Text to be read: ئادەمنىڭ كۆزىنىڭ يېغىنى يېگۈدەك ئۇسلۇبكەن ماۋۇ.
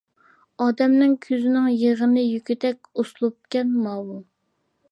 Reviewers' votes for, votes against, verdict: 2, 0, accepted